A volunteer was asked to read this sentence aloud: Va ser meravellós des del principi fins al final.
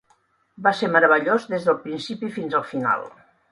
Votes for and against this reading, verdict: 2, 0, accepted